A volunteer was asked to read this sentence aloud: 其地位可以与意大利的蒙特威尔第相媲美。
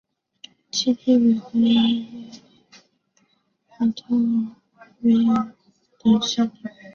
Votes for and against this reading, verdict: 0, 2, rejected